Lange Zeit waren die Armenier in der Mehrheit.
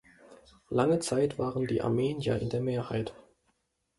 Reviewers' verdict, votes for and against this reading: accepted, 2, 0